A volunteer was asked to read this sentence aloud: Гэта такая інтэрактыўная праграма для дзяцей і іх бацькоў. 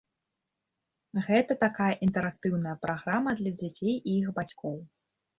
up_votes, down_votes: 2, 0